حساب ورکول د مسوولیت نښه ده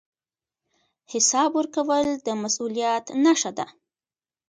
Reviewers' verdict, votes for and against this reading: rejected, 0, 2